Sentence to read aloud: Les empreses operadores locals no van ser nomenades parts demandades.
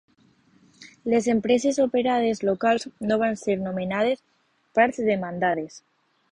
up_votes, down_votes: 0, 2